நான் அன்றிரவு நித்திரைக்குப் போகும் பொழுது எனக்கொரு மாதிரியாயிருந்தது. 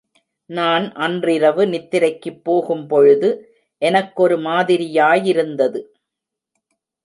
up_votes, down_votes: 1, 2